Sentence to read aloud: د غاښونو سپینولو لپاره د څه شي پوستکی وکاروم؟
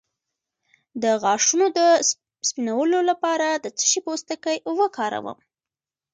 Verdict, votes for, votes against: rejected, 1, 2